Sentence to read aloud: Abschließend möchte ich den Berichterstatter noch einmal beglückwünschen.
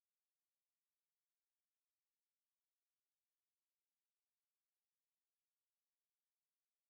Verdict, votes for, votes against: rejected, 0, 2